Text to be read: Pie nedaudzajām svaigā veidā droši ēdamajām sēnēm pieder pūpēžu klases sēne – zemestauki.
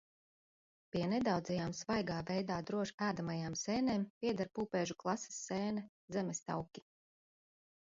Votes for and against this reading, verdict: 2, 1, accepted